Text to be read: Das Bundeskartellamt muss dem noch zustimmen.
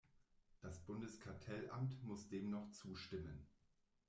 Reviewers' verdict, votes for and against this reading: rejected, 1, 2